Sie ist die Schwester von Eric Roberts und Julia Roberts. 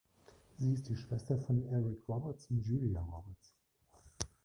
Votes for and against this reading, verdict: 1, 2, rejected